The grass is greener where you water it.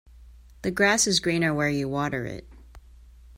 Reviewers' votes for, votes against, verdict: 2, 0, accepted